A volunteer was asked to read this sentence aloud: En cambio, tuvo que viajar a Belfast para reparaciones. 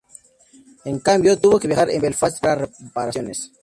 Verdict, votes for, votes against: accepted, 2, 0